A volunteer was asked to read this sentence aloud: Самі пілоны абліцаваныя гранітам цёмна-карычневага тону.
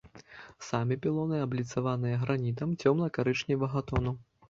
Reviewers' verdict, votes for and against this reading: accepted, 2, 0